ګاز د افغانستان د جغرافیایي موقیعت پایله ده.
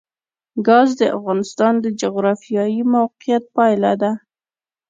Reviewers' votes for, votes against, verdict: 2, 0, accepted